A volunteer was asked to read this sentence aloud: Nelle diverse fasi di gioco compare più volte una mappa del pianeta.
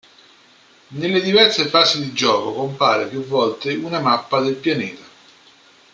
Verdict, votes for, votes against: accepted, 2, 1